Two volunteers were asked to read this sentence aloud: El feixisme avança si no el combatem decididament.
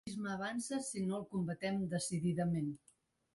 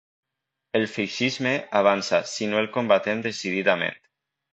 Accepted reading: second